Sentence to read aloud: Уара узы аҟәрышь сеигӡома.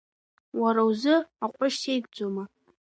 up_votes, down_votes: 0, 2